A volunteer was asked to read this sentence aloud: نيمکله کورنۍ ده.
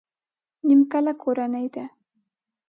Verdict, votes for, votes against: accepted, 2, 0